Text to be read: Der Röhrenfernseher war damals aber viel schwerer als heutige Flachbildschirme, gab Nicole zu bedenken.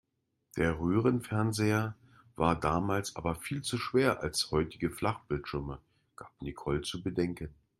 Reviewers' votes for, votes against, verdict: 0, 2, rejected